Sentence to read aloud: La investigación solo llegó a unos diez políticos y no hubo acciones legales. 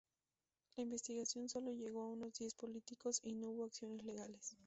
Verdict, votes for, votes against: rejected, 2, 2